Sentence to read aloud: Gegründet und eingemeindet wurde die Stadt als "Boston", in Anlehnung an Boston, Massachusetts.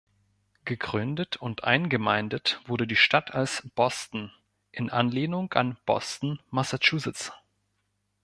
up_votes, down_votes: 2, 0